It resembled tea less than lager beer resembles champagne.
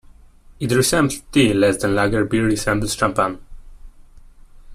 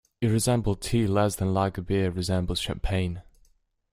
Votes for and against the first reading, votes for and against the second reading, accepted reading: 0, 3, 2, 0, second